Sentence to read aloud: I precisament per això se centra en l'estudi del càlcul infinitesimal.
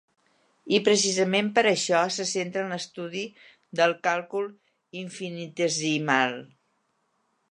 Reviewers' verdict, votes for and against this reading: accepted, 3, 0